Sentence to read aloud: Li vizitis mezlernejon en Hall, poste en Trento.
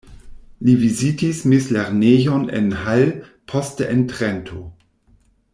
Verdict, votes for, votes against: rejected, 1, 2